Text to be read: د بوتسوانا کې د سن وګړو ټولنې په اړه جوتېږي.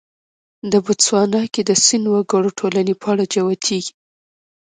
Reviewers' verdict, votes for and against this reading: rejected, 1, 2